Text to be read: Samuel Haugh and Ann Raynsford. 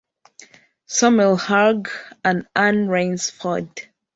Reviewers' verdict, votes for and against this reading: rejected, 1, 2